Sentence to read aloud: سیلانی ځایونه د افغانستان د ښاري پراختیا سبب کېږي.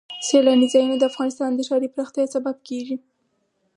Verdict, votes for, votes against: accepted, 4, 0